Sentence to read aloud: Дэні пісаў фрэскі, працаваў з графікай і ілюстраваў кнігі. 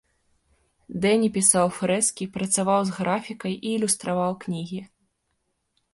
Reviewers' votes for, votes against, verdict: 2, 0, accepted